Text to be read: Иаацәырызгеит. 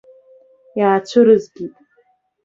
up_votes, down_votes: 2, 0